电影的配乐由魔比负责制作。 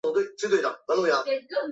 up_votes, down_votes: 0, 5